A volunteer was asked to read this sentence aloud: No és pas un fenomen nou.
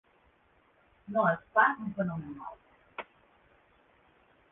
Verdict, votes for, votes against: rejected, 2, 3